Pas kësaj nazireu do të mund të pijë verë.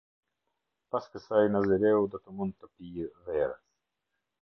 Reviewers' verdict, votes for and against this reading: accepted, 2, 0